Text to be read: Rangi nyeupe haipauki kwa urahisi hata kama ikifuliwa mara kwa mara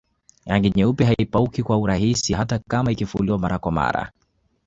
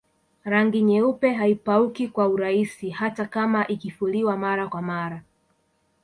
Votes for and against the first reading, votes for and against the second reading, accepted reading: 2, 1, 0, 2, first